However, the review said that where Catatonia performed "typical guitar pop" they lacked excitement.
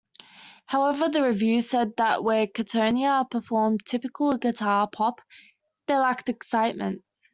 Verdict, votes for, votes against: accepted, 2, 1